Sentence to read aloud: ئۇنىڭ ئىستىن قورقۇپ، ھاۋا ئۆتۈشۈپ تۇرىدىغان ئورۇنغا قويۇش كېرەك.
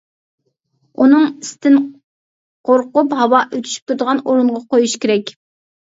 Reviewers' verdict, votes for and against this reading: accepted, 2, 0